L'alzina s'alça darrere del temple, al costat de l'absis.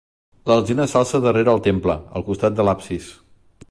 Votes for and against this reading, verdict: 1, 2, rejected